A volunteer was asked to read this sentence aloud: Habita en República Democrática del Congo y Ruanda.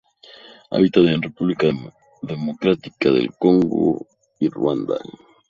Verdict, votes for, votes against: rejected, 0, 2